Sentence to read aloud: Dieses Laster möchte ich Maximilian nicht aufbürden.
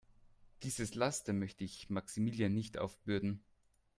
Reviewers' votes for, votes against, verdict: 2, 0, accepted